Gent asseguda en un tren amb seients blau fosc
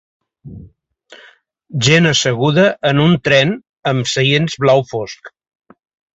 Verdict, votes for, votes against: accepted, 2, 0